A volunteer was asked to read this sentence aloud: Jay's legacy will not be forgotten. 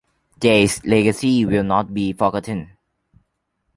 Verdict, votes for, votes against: accepted, 2, 0